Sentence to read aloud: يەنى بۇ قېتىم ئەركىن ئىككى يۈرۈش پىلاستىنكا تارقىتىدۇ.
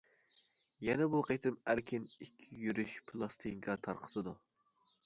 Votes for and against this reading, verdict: 0, 2, rejected